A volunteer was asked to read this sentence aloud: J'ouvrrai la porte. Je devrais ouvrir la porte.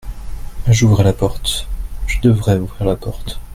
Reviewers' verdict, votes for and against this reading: accepted, 2, 0